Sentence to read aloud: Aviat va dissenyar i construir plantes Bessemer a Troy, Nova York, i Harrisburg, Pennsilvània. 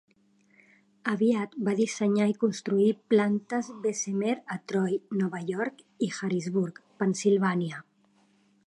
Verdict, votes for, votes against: accepted, 2, 0